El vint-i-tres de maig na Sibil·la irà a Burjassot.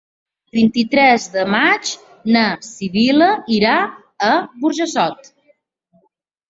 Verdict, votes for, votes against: rejected, 1, 2